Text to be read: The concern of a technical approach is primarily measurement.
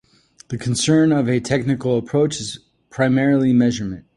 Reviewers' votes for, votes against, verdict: 2, 1, accepted